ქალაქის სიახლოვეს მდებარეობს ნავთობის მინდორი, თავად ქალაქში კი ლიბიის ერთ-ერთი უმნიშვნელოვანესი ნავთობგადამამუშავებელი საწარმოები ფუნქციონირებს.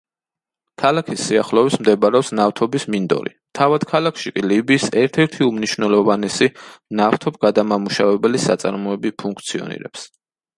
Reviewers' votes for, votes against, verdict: 2, 0, accepted